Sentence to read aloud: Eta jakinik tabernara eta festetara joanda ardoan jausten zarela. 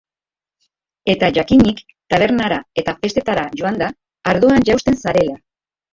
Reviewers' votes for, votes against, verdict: 0, 2, rejected